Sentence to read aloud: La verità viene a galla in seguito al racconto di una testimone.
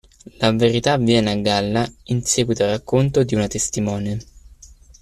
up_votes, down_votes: 2, 0